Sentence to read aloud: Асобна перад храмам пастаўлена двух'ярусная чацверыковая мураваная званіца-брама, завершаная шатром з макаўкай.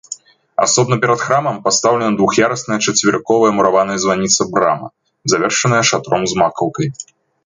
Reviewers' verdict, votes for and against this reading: accepted, 2, 1